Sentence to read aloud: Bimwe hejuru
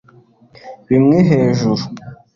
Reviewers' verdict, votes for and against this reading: accepted, 2, 0